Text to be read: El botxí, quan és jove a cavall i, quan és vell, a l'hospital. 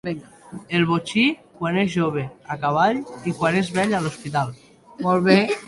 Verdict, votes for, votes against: rejected, 1, 3